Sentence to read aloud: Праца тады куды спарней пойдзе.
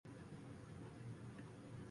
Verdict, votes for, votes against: rejected, 0, 2